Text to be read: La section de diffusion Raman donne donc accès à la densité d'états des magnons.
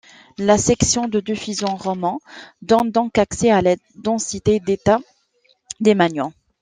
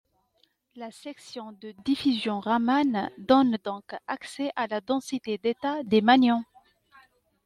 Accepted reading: second